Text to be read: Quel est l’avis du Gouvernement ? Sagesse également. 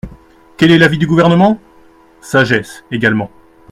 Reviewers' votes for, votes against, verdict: 2, 0, accepted